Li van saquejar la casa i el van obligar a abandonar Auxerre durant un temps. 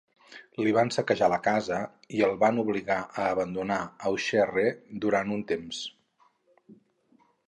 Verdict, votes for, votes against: rejected, 2, 2